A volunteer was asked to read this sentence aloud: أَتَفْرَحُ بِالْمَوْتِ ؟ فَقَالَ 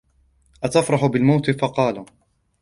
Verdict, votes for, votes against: accepted, 2, 0